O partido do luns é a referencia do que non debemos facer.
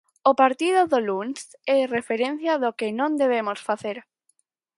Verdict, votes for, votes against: accepted, 4, 0